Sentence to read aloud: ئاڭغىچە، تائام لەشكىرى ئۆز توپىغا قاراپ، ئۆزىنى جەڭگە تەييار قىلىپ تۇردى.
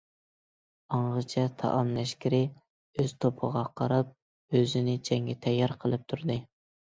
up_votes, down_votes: 2, 0